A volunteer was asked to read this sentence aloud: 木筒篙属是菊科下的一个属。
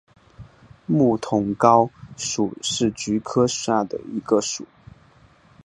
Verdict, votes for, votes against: accepted, 2, 0